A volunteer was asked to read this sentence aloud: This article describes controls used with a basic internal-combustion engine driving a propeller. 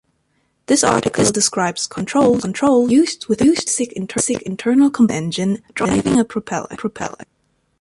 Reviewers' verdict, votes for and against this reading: rejected, 0, 2